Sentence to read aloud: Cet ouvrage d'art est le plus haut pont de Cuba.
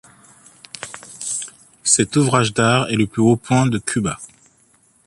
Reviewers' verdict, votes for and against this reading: rejected, 1, 3